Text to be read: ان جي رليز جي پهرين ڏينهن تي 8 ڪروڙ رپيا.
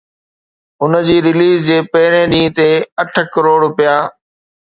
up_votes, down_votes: 0, 2